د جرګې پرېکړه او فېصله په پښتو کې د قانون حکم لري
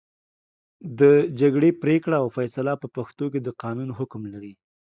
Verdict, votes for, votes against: rejected, 0, 2